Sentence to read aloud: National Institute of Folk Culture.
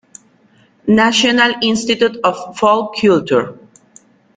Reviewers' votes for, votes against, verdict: 0, 2, rejected